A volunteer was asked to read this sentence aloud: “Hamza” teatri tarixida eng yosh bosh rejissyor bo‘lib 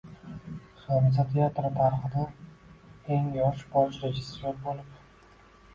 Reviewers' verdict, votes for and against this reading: accepted, 2, 1